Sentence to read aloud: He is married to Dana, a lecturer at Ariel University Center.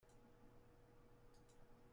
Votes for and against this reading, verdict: 0, 2, rejected